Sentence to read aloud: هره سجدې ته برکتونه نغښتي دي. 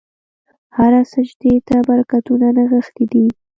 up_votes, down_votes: 1, 2